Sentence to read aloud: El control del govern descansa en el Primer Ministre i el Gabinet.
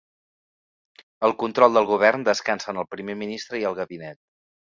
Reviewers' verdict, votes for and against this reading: accepted, 2, 0